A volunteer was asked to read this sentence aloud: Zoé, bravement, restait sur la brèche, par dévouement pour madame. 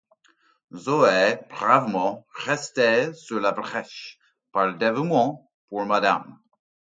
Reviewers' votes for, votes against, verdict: 2, 0, accepted